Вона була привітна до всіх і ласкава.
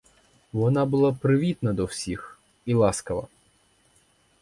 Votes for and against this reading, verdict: 0, 4, rejected